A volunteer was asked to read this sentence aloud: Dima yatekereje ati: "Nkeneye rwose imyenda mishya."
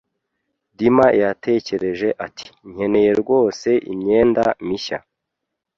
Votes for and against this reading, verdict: 2, 0, accepted